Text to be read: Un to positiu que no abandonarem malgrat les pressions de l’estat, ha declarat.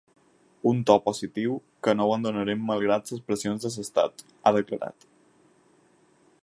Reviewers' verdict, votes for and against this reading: rejected, 2, 4